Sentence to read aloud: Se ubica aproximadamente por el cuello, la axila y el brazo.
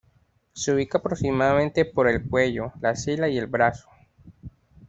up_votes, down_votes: 2, 0